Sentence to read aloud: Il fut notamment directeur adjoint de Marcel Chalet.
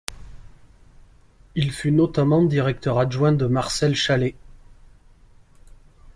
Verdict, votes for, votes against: accepted, 2, 0